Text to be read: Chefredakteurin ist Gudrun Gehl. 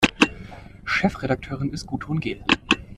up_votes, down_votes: 2, 0